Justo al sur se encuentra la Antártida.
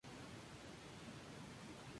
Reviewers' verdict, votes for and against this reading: accepted, 2, 0